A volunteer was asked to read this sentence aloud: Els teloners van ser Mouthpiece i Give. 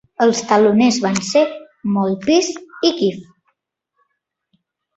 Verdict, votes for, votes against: accepted, 2, 0